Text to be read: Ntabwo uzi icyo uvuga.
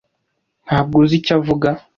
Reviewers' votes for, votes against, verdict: 2, 0, accepted